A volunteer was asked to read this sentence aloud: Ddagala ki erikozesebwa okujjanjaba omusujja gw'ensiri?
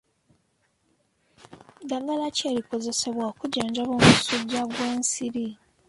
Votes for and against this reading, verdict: 2, 0, accepted